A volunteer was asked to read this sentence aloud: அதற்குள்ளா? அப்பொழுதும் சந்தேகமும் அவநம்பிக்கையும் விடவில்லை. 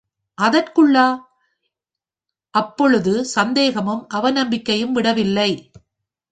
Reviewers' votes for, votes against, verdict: 3, 4, rejected